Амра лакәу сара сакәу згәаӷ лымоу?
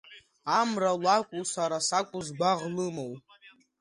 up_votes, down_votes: 3, 1